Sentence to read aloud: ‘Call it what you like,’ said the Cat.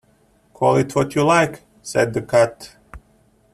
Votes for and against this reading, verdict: 2, 1, accepted